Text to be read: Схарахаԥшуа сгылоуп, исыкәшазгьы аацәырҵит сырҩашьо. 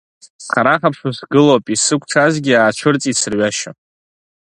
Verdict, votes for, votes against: rejected, 1, 3